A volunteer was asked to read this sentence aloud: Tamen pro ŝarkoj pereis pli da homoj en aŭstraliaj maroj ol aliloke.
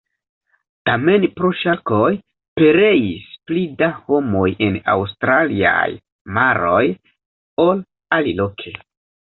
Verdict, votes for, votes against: rejected, 0, 2